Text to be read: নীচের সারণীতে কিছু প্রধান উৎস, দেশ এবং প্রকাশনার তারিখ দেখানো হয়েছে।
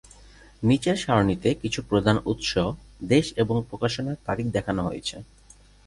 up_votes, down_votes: 2, 0